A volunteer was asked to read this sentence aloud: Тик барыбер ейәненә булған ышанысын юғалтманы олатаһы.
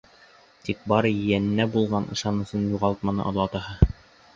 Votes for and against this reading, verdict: 0, 2, rejected